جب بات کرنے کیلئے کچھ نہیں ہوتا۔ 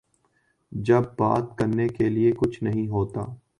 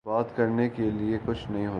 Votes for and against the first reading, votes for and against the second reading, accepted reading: 3, 0, 2, 2, first